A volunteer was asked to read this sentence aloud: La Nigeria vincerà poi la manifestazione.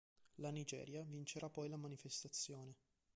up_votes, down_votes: 1, 2